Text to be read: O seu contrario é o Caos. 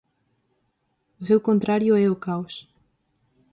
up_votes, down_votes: 4, 0